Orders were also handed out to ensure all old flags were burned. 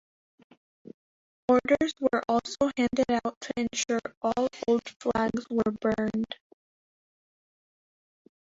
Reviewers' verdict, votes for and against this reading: rejected, 0, 2